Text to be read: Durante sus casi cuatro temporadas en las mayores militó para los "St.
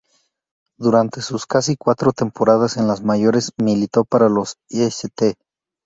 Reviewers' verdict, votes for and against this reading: rejected, 2, 2